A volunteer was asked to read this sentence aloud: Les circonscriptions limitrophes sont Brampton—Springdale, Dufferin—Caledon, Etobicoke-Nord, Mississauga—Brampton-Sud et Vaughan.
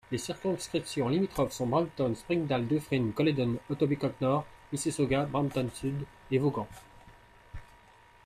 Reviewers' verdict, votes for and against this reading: accepted, 2, 0